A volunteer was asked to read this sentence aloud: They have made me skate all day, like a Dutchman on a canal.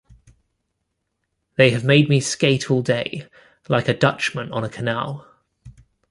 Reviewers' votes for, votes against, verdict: 2, 1, accepted